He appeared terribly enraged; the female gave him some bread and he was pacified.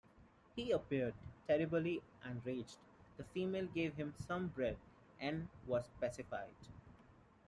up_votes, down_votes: 1, 3